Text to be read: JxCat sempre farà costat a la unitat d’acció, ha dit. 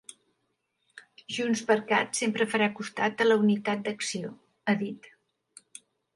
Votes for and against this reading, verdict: 4, 0, accepted